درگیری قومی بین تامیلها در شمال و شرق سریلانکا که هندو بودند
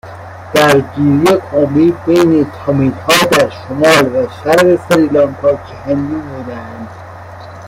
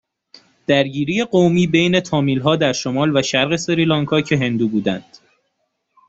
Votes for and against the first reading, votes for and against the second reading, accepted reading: 0, 2, 2, 0, second